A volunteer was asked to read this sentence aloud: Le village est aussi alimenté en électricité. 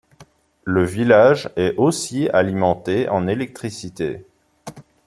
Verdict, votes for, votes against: accepted, 2, 0